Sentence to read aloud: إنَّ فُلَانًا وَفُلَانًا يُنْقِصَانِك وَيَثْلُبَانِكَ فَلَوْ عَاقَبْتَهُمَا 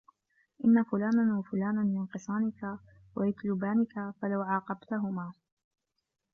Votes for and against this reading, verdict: 2, 1, accepted